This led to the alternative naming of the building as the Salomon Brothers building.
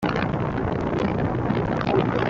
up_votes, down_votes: 0, 2